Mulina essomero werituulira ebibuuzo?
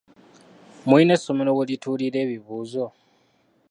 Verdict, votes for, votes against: accepted, 2, 0